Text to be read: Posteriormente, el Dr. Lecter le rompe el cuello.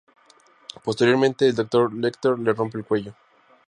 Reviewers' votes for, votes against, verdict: 2, 0, accepted